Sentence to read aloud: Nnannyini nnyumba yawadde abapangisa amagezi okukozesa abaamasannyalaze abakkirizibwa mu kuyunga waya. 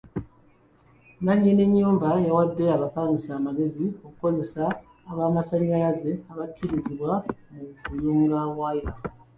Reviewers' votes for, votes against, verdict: 2, 1, accepted